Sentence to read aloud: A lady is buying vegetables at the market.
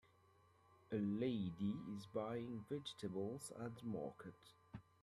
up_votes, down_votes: 2, 1